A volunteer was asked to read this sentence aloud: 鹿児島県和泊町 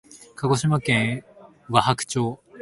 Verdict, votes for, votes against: accepted, 2, 0